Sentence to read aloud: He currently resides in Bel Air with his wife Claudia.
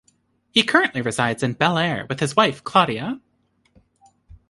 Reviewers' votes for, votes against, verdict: 2, 0, accepted